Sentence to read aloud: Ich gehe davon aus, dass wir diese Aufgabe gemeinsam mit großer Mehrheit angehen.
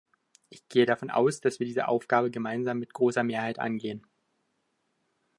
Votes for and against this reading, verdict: 2, 0, accepted